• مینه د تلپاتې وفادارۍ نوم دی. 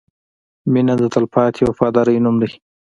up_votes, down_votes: 2, 1